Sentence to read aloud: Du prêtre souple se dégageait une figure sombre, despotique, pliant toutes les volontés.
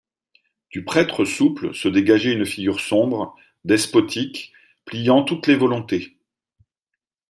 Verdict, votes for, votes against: accepted, 2, 0